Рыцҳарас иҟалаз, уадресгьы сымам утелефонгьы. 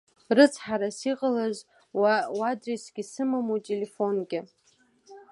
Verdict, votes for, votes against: rejected, 0, 2